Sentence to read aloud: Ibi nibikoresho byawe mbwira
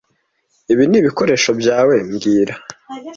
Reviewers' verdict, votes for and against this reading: accepted, 2, 0